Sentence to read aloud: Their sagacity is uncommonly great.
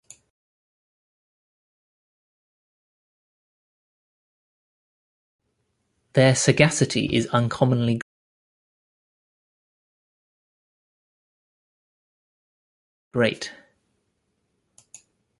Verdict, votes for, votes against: rejected, 0, 2